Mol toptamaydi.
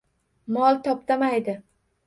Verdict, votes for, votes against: rejected, 1, 2